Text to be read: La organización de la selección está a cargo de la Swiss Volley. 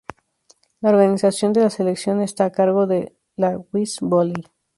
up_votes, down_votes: 0, 2